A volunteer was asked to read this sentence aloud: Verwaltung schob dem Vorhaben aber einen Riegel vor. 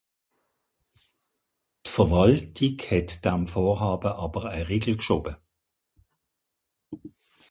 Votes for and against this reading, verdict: 0, 2, rejected